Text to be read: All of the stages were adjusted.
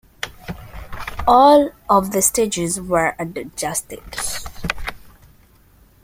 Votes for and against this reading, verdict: 1, 3, rejected